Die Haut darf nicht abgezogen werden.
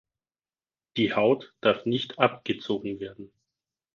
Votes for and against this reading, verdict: 4, 0, accepted